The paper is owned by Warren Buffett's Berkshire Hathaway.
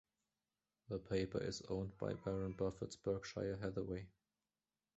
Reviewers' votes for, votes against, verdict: 2, 0, accepted